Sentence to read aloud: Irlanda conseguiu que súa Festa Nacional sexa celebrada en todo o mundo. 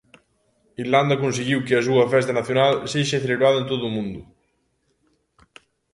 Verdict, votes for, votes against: rejected, 1, 2